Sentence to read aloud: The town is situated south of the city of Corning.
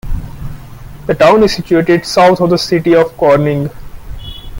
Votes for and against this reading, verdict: 2, 0, accepted